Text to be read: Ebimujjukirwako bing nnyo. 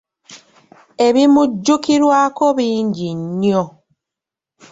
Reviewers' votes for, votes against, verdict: 2, 0, accepted